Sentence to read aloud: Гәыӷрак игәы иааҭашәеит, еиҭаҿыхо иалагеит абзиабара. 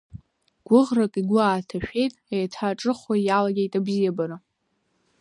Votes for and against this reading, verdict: 0, 2, rejected